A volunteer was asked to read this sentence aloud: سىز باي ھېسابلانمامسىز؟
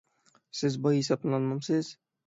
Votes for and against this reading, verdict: 3, 6, rejected